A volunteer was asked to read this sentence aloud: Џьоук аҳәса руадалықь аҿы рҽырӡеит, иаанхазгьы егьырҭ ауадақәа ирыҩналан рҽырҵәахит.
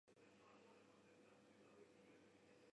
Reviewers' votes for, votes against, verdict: 0, 2, rejected